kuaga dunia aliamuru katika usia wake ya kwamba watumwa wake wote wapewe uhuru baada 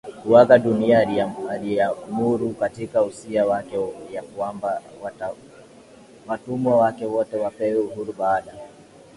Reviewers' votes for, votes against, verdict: 1, 2, rejected